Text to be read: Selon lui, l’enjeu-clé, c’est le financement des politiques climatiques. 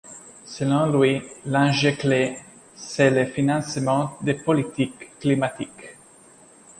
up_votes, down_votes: 3, 0